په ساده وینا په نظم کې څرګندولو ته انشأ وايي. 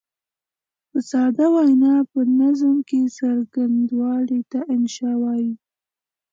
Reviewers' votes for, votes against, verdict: 2, 0, accepted